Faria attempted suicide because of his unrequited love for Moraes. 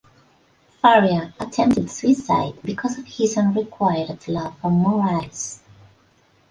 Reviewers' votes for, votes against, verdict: 2, 1, accepted